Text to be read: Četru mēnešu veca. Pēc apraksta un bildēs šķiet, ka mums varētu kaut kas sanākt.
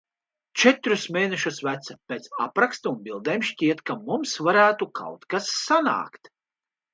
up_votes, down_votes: 0, 2